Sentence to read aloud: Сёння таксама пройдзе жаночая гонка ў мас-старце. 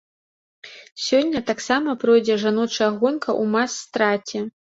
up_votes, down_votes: 0, 2